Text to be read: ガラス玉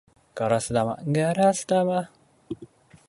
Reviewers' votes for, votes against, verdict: 0, 3, rejected